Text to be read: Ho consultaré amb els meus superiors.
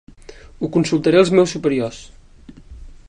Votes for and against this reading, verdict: 1, 2, rejected